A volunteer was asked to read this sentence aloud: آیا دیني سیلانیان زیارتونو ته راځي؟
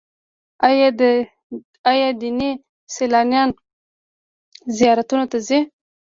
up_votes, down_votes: 0, 2